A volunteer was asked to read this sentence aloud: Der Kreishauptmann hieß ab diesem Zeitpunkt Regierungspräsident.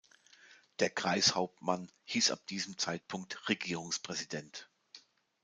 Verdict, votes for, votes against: accepted, 2, 0